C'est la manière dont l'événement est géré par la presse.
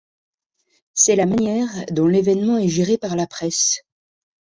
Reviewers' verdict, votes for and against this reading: accepted, 3, 0